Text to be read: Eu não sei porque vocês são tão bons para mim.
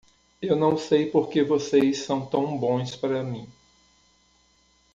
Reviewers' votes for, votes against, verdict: 1, 2, rejected